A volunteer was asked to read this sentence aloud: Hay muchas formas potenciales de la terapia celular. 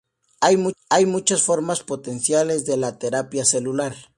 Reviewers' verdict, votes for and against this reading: rejected, 0, 2